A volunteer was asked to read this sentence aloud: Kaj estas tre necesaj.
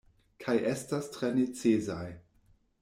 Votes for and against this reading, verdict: 1, 2, rejected